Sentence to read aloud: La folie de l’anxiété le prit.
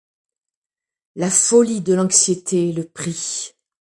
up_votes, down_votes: 2, 0